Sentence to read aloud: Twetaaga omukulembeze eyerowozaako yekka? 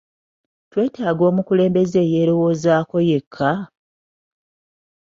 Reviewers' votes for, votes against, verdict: 2, 0, accepted